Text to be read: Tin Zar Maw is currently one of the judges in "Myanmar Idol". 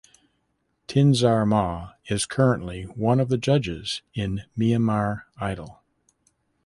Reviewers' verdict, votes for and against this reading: rejected, 1, 2